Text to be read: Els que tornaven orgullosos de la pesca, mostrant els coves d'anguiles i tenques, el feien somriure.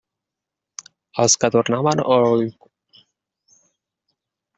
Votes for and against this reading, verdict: 0, 2, rejected